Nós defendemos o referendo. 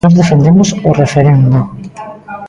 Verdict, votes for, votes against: rejected, 1, 2